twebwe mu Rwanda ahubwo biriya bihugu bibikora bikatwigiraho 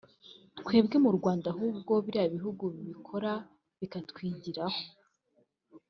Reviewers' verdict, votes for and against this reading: accepted, 2, 0